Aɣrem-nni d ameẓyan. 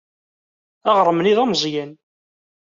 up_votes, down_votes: 2, 0